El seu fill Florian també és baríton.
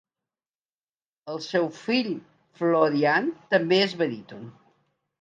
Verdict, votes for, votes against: accepted, 2, 0